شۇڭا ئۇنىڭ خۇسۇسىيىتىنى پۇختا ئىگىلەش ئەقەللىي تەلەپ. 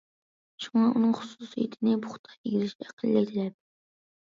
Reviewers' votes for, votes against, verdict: 1, 2, rejected